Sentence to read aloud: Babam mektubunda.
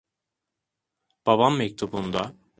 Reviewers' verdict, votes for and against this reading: accepted, 2, 0